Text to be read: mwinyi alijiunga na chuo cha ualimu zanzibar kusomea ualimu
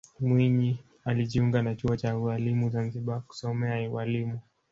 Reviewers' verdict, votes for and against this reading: accepted, 4, 0